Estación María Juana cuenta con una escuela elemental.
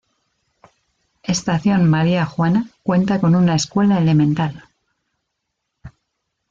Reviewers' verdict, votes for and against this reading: accepted, 2, 0